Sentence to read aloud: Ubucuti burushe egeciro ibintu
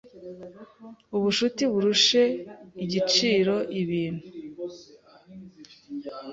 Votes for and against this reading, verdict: 1, 2, rejected